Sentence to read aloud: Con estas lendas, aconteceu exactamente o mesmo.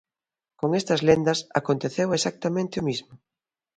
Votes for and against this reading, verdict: 0, 2, rejected